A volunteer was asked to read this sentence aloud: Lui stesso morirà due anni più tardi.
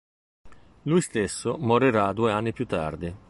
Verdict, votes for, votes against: accepted, 2, 0